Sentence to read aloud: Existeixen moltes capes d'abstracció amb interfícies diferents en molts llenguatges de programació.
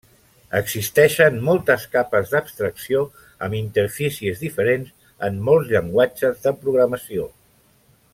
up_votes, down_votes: 3, 0